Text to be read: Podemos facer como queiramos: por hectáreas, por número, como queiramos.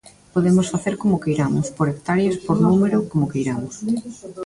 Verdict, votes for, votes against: rejected, 1, 2